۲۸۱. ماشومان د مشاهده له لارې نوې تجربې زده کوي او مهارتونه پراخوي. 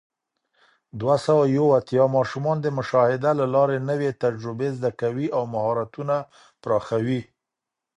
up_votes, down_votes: 0, 2